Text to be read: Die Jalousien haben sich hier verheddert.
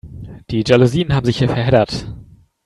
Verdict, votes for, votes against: accepted, 3, 0